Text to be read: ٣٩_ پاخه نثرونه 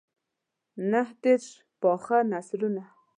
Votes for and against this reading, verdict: 0, 2, rejected